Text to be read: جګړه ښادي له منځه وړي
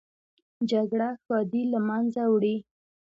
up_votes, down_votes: 1, 2